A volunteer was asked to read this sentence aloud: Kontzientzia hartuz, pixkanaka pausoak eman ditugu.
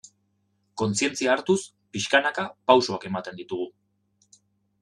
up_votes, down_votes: 1, 2